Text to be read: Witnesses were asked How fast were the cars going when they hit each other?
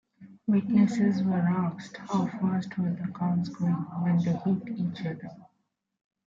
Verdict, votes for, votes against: accepted, 2, 0